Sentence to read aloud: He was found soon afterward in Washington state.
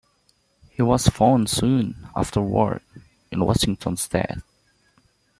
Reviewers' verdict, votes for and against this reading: rejected, 0, 2